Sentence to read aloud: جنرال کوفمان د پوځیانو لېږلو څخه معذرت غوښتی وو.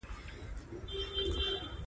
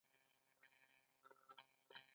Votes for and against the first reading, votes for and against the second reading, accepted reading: 0, 2, 2, 1, second